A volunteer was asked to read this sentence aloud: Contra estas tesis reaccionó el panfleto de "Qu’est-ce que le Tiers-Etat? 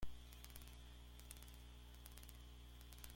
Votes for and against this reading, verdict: 0, 2, rejected